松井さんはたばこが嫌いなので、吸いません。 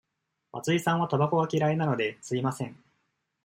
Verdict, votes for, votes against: accepted, 2, 0